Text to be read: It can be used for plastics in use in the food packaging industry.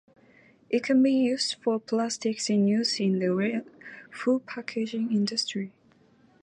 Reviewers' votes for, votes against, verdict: 4, 2, accepted